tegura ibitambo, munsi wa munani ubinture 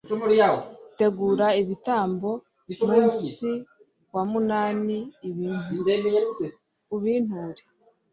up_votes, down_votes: 0, 2